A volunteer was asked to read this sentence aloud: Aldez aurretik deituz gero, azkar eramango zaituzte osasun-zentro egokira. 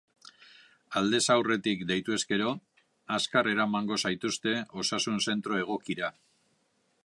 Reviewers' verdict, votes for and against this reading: accepted, 2, 1